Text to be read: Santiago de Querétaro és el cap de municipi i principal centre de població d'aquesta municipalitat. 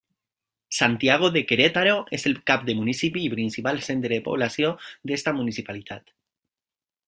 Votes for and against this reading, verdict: 2, 0, accepted